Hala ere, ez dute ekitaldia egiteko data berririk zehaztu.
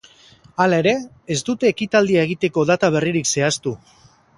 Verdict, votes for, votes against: accepted, 2, 0